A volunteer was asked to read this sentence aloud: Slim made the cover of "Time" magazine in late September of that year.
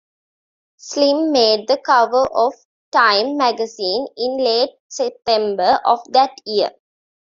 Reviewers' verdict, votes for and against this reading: accepted, 2, 0